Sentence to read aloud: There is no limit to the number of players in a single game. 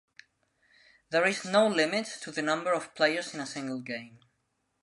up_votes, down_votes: 2, 0